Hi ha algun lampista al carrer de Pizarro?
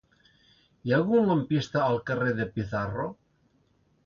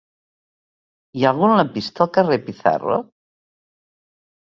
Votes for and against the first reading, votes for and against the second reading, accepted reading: 2, 0, 1, 2, first